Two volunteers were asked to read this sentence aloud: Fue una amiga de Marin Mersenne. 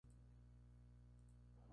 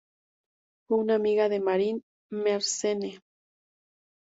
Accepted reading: second